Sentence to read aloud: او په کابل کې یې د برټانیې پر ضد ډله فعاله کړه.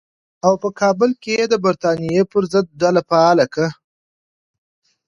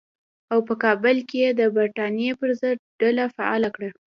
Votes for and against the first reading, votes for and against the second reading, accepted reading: 1, 2, 2, 0, second